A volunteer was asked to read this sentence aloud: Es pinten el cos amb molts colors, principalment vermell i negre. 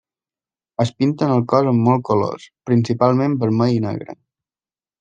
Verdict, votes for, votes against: accepted, 2, 0